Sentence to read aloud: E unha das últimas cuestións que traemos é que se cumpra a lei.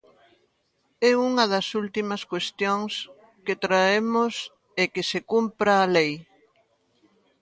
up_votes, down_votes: 2, 0